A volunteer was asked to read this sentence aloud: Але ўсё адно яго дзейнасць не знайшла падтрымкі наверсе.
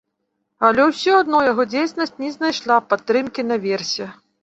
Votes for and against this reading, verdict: 1, 2, rejected